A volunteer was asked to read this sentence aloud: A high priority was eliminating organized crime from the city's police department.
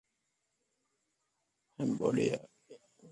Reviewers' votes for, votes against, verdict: 0, 2, rejected